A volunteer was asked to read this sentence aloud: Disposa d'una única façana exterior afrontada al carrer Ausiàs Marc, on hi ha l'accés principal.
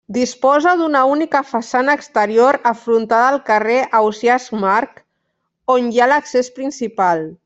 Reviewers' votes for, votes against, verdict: 1, 2, rejected